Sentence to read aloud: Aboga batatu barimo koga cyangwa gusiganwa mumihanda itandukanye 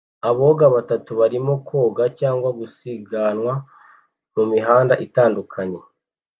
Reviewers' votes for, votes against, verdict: 2, 0, accepted